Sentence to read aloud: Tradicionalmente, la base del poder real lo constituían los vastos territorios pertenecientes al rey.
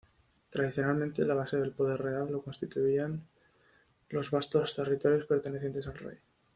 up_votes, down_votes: 2, 0